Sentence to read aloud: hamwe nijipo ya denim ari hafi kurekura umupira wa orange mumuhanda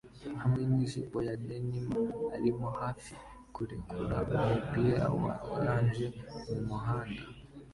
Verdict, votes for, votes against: accepted, 2, 0